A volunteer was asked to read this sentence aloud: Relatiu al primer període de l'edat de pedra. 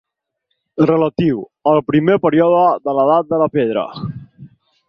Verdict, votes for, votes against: rejected, 0, 4